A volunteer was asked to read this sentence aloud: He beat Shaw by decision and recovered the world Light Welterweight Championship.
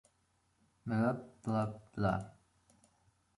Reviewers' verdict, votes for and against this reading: rejected, 0, 2